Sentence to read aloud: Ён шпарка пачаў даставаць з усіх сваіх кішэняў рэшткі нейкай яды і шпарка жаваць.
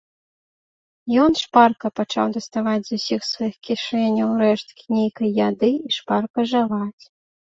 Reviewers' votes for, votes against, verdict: 2, 0, accepted